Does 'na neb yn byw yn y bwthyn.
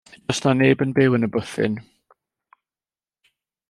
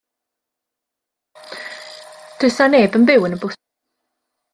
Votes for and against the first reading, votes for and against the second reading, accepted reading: 2, 0, 0, 2, first